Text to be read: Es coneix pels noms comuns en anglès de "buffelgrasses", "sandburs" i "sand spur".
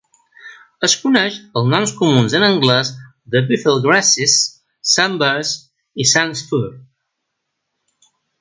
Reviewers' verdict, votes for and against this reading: accepted, 2, 0